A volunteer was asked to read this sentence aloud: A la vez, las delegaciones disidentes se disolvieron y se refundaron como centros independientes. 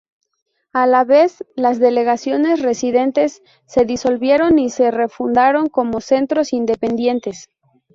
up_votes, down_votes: 0, 2